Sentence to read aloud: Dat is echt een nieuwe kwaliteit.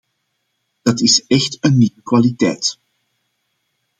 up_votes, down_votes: 1, 2